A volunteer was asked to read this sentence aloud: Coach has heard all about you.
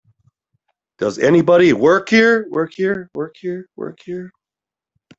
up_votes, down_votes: 0, 3